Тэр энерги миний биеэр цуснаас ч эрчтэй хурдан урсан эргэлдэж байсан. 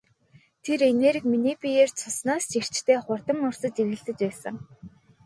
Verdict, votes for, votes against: rejected, 0, 2